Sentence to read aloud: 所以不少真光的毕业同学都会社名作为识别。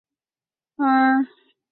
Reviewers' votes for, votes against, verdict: 0, 3, rejected